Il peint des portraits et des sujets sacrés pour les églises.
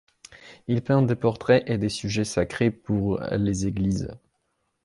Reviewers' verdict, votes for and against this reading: accepted, 2, 0